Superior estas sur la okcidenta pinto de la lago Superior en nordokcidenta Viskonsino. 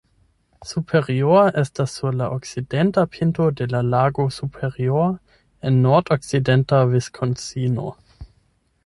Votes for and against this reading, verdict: 4, 8, rejected